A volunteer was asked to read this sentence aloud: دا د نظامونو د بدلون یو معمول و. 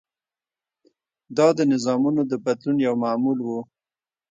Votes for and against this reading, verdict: 2, 0, accepted